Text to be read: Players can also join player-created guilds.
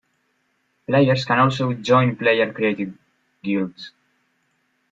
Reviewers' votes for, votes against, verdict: 1, 2, rejected